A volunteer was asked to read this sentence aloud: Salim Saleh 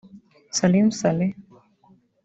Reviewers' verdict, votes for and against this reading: rejected, 1, 2